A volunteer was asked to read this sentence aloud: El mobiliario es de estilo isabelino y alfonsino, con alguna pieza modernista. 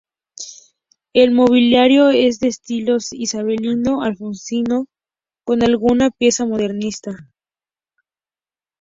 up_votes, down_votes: 4, 0